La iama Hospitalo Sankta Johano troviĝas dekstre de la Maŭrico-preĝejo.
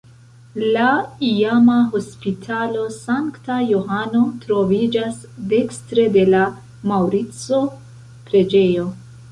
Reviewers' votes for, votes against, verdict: 2, 0, accepted